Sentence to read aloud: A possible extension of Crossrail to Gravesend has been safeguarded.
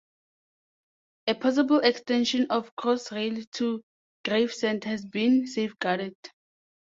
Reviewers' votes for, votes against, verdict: 2, 0, accepted